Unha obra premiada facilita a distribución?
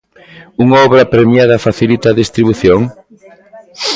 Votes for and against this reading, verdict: 2, 0, accepted